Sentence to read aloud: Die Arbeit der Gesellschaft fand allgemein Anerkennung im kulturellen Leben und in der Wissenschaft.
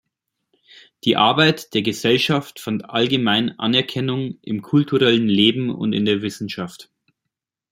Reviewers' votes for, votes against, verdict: 2, 0, accepted